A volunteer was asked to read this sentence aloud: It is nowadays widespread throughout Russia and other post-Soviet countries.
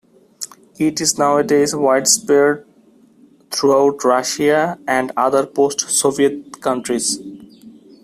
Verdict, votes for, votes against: rejected, 0, 2